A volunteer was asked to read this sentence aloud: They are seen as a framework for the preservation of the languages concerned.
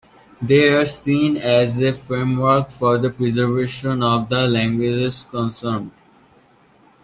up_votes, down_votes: 2, 0